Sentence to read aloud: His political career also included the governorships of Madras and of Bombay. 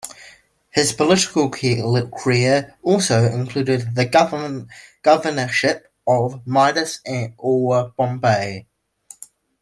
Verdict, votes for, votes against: rejected, 0, 2